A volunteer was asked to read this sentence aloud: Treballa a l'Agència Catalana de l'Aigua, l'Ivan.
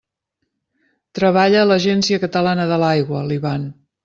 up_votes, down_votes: 2, 0